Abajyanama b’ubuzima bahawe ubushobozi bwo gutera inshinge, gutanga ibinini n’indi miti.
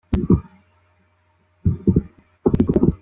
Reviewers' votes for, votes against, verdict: 0, 4, rejected